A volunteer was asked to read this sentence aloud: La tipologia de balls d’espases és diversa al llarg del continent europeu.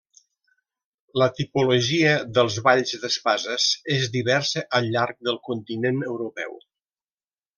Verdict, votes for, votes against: rejected, 1, 2